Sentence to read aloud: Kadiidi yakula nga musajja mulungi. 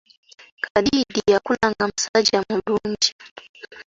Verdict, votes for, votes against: accepted, 2, 1